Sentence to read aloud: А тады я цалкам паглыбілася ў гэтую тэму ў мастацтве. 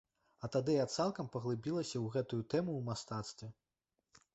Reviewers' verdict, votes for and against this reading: accepted, 2, 1